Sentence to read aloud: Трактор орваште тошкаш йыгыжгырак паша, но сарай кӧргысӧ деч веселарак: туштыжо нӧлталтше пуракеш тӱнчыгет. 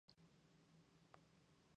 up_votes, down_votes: 1, 2